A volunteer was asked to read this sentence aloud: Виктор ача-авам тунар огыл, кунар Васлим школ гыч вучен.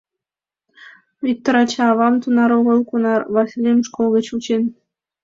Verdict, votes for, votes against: accepted, 2, 0